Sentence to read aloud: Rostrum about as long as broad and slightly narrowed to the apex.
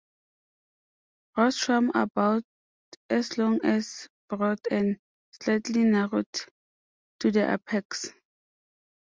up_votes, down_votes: 2, 0